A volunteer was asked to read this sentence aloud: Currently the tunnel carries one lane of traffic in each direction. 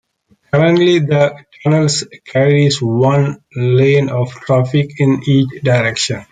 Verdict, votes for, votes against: rejected, 1, 2